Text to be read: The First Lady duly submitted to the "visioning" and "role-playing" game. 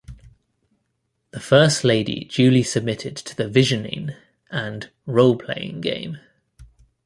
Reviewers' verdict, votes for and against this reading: accepted, 2, 0